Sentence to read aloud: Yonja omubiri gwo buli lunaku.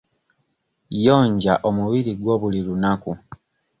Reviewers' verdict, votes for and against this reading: accepted, 2, 0